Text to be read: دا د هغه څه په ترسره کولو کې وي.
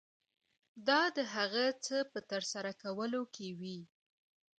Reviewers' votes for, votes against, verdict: 2, 1, accepted